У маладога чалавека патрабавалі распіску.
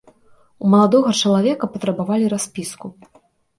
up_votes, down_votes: 2, 0